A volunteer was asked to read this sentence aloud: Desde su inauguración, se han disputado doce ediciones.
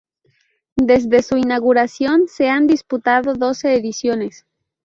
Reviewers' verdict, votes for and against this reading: accepted, 2, 0